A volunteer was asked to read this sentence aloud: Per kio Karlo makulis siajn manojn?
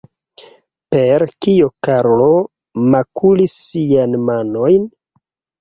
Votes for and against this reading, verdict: 2, 1, accepted